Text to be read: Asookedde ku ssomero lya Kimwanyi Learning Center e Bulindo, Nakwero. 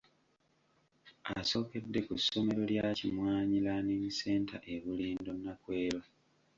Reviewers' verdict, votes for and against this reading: rejected, 1, 2